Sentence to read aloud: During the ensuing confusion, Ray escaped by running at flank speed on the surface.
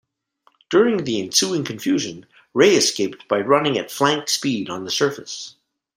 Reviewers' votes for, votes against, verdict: 2, 0, accepted